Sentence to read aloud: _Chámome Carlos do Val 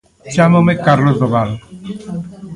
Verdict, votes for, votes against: rejected, 1, 2